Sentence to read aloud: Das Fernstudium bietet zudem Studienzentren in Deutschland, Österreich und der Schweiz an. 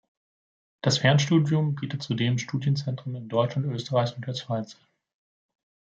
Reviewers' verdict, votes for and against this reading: accepted, 2, 1